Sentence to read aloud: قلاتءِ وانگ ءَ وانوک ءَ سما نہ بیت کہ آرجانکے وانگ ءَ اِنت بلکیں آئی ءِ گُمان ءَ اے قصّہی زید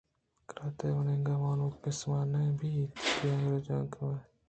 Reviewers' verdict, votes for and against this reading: rejected, 1, 2